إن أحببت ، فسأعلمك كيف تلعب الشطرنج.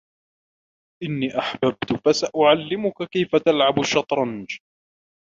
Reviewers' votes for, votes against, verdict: 1, 2, rejected